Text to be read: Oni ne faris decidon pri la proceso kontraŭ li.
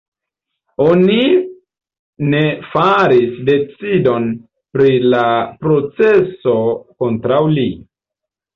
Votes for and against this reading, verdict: 2, 1, accepted